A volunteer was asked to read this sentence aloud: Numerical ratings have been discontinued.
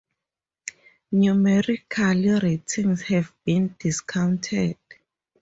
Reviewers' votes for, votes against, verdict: 0, 4, rejected